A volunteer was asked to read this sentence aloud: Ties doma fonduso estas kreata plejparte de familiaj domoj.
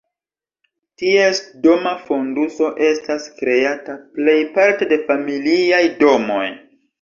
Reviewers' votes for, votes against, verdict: 2, 0, accepted